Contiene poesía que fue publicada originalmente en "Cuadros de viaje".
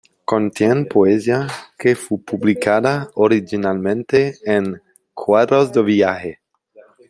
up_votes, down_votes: 0, 2